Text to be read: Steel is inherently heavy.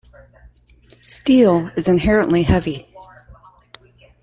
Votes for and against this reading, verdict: 2, 0, accepted